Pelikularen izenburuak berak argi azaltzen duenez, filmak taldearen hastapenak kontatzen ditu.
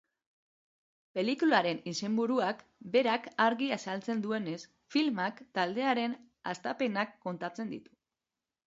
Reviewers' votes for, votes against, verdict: 3, 0, accepted